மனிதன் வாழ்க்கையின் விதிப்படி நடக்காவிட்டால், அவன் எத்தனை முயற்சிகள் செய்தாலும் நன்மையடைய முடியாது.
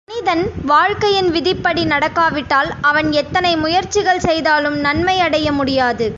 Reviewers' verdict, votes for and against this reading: accepted, 2, 0